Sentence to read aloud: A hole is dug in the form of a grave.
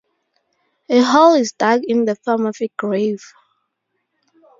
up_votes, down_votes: 2, 2